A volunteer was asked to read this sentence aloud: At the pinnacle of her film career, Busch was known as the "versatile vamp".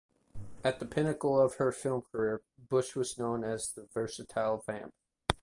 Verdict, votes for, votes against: accepted, 2, 0